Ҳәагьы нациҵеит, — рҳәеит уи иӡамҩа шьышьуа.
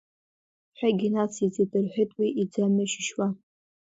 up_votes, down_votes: 2, 1